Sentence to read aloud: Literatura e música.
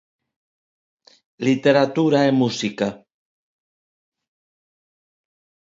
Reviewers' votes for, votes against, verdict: 2, 1, accepted